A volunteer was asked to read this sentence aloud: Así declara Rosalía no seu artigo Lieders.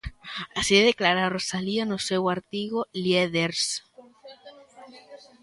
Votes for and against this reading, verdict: 0, 2, rejected